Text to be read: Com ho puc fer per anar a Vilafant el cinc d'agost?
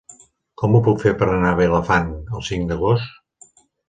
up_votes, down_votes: 2, 0